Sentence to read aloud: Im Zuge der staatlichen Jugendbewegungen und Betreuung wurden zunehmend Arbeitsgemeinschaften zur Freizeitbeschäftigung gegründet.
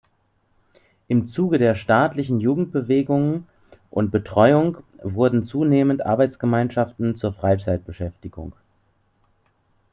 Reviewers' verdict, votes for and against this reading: rejected, 0, 2